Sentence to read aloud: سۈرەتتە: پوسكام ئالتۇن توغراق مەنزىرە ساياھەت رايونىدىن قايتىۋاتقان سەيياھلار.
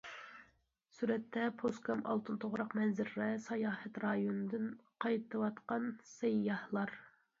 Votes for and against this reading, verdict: 1, 2, rejected